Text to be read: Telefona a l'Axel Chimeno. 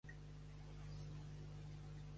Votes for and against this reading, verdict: 0, 2, rejected